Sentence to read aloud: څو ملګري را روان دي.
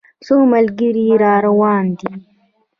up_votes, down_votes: 1, 2